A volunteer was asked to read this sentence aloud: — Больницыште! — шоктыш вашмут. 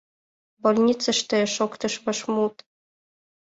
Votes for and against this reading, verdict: 3, 0, accepted